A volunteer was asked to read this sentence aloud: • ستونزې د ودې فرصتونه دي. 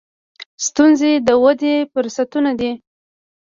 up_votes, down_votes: 0, 2